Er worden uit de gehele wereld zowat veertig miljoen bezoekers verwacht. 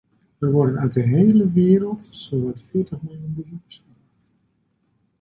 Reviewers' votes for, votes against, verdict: 0, 2, rejected